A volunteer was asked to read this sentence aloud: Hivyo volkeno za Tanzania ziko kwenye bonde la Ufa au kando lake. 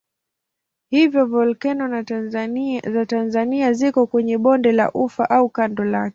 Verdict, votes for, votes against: accepted, 16, 4